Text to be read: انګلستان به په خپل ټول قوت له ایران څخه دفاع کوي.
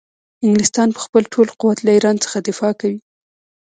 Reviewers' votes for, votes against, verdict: 0, 2, rejected